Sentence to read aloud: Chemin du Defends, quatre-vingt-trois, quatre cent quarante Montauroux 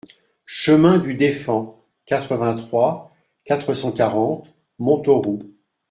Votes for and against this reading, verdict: 1, 2, rejected